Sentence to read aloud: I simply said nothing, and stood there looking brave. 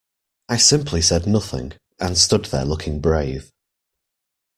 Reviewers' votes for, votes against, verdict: 2, 0, accepted